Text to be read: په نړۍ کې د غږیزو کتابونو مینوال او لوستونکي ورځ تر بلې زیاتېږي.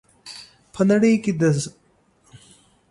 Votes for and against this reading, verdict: 0, 2, rejected